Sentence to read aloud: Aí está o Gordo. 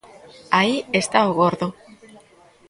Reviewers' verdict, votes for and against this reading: rejected, 1, 2